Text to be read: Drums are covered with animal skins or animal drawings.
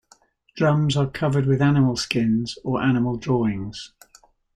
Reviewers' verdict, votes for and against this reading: accepted, 2, 0